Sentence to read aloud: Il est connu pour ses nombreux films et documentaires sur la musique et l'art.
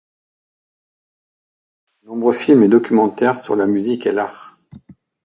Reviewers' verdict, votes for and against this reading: rejected, 0, 2